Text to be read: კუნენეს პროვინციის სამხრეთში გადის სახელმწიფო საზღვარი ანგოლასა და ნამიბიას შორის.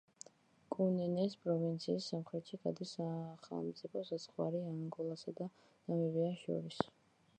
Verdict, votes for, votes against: rejected, 1, 2